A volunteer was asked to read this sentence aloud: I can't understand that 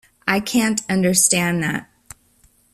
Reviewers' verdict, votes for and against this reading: accepted, 2, 0